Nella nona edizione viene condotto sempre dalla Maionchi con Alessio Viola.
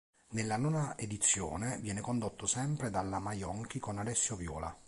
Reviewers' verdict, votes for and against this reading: accepted, 2, 0